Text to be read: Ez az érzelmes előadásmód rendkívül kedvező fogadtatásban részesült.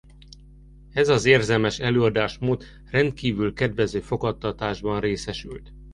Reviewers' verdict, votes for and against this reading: accepted, 2, 1